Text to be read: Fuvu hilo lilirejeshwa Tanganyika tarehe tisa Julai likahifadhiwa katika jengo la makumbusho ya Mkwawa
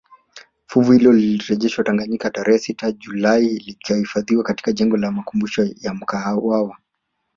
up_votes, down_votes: 1, 2